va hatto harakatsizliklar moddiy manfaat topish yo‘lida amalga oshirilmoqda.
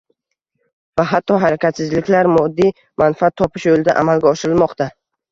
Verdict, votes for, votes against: rejected, 0, 2